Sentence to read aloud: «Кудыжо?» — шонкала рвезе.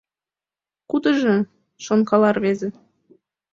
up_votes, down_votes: 2, 0